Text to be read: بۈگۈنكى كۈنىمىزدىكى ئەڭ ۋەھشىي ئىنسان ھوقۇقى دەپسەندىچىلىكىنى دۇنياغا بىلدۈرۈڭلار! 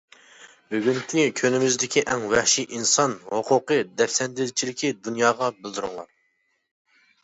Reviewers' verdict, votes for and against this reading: rejected, 0, 2